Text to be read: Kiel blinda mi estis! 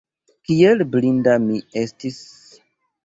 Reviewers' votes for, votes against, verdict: 1, 2, rejected